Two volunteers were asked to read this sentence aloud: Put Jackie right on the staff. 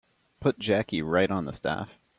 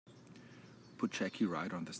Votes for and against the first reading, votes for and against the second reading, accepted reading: 2, 0, 0, 2, first